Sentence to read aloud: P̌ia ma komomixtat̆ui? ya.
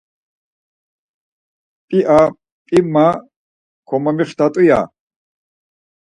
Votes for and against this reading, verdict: 0, 4, rejected